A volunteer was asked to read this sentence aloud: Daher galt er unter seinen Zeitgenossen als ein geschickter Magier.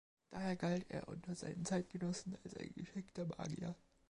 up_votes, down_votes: 2, 0